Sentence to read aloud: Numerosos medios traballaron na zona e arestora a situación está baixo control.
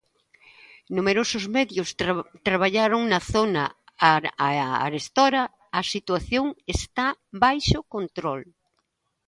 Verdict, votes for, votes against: rejected, 0, 2